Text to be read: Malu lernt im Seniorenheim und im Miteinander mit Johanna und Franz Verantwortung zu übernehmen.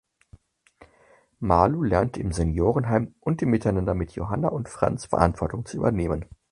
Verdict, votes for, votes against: accepted, 4, 0